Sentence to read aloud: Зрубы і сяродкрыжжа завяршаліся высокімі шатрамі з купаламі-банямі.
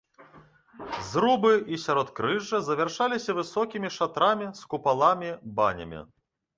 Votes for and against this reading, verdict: 2, 1, accepted